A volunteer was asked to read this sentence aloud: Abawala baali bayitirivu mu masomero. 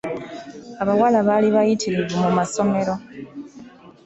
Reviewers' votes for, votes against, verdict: 2, 0, accepted